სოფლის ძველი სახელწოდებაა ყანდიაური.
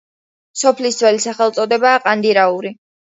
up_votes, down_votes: 2, 1